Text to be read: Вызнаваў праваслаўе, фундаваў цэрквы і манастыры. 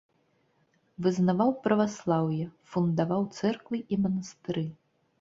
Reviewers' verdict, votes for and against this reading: accepted, 2, 0